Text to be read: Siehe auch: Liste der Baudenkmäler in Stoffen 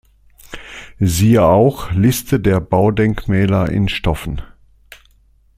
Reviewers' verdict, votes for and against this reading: accepted, 2, 0